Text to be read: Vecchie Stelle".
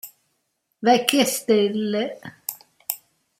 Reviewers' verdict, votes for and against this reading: accepted, 2, 0